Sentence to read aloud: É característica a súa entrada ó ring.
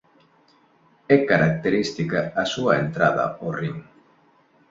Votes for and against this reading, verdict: 3, 0, accepted